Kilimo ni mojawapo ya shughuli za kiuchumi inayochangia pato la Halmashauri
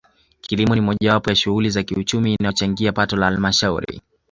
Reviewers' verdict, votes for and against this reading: accepted, 2, 0